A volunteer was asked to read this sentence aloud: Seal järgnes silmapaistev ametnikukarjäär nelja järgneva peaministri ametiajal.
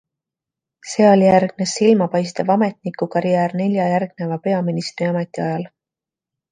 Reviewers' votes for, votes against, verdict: 2, 0, accepted